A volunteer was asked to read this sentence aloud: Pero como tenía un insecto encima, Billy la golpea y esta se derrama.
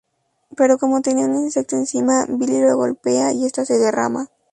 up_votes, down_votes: 2, 2